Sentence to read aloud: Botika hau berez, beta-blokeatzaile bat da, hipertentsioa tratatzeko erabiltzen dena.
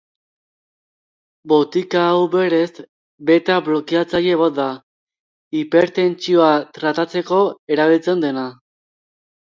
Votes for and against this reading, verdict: 2, 0, accepted